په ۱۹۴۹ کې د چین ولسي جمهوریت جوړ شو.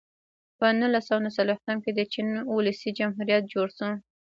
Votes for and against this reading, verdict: 0, 2, rejected